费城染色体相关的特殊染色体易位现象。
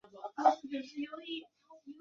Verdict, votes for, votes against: rejected, 0, 2